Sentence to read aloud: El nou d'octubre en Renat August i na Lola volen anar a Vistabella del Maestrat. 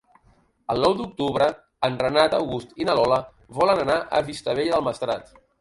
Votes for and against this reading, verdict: 1, 2, rejected